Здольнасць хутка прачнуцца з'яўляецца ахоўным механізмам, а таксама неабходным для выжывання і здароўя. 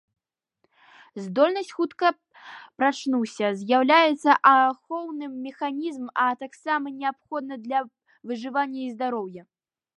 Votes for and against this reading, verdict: 1, 2, rejected